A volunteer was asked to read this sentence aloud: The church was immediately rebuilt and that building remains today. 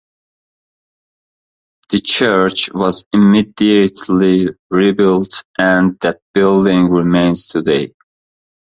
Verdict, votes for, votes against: accepted, 2, 0